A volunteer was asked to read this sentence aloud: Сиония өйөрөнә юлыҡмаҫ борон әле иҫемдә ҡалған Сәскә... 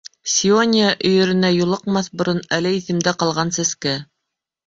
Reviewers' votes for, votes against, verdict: 1, 2, rejected